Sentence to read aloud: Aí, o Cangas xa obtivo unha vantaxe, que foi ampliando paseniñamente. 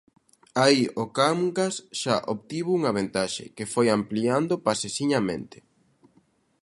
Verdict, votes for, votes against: rejected, 0, 2